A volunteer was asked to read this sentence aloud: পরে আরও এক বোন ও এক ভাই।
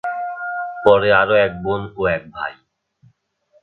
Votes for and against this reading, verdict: 4, 2, accepted